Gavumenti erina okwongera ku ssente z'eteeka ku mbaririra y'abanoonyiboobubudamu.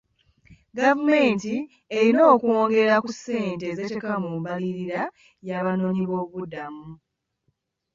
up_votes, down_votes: 2, 0